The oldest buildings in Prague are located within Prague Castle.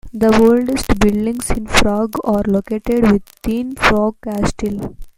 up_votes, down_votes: 1, 2